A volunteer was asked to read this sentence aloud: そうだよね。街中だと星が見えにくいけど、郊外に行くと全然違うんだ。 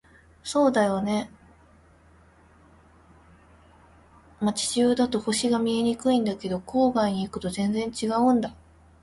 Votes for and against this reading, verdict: 1, 2, rejected